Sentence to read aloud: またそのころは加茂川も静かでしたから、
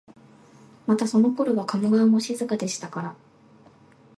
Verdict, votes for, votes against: accepted, 2, 0